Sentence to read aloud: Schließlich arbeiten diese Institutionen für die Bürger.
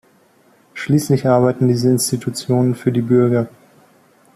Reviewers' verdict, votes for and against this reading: accepted, 2, 1